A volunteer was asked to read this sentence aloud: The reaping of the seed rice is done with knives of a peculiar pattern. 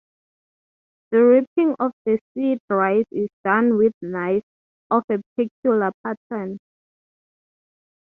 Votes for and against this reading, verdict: 0, 3, rejected